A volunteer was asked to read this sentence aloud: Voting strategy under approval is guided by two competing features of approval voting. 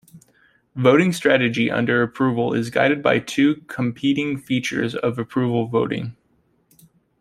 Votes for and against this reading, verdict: 2, 0, accepted